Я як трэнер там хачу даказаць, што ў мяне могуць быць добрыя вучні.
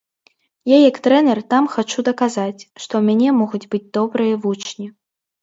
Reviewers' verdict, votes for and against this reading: accepted, 2, 0